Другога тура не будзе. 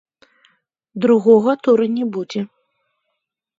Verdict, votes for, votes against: rejected, 1, 2